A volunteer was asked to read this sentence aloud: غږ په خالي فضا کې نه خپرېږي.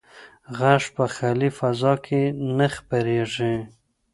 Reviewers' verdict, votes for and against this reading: accepted, 2, 0